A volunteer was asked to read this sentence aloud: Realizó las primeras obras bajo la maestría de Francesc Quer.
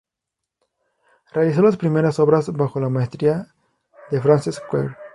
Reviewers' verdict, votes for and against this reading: accepted, 2, 0